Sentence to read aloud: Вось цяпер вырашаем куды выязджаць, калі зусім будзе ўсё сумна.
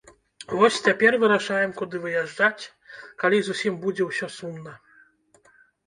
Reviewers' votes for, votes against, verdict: 1, 2, rejected